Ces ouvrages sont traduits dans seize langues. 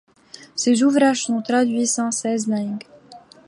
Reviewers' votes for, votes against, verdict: 1, 2, rejected